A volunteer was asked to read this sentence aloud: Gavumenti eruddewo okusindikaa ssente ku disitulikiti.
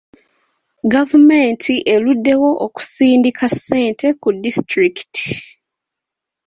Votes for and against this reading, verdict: 2, 1, accepted